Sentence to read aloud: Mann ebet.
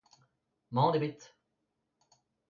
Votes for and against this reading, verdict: 2, 1, accepted